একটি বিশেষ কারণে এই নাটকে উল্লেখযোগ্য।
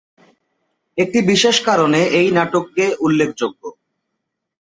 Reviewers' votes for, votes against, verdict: 0, 2, rejected